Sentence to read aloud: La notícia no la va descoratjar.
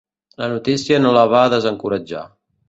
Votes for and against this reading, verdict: 1, 2, rejected